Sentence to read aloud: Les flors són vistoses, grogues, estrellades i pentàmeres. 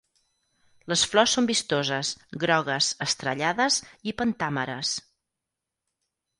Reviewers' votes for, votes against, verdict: 4, 0, accepted